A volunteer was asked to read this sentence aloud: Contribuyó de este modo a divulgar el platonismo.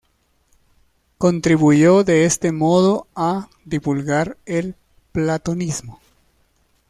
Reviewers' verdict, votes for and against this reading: accepted, 2, 0